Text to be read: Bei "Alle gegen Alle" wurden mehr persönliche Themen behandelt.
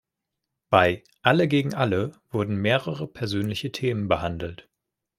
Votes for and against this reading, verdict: 0, 2, rejected